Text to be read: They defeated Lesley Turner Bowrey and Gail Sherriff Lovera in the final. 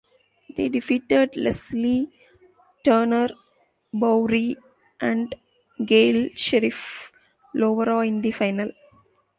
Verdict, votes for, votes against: accepted, 2, 1